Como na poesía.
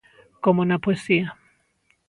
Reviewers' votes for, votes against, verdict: 2, 0, accepted